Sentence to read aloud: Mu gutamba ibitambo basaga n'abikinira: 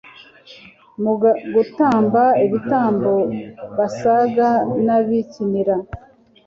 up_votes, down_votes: 1, 2